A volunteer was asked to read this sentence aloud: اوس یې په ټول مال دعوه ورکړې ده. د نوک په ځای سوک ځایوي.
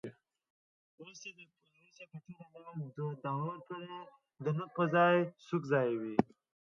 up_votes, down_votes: 0, 2